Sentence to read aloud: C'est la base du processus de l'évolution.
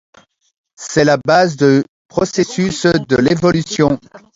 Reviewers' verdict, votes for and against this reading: rejected, 0, 2